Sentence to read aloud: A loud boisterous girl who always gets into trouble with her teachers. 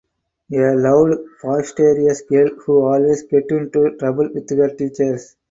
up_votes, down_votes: 4, 2